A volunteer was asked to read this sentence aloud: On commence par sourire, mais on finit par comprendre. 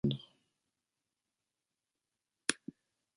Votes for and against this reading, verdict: 1, 2, rejected